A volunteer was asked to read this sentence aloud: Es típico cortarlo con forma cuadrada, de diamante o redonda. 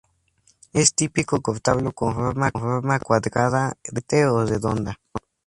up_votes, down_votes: 0, 2